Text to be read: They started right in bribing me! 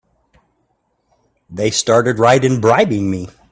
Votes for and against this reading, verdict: 2, 0, accepted